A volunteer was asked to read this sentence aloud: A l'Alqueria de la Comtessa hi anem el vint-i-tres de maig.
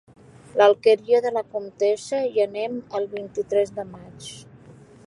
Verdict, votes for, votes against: accepted, 2, 1